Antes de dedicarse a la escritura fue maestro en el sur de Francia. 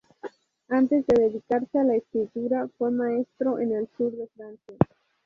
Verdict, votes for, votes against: accepted, 2, 0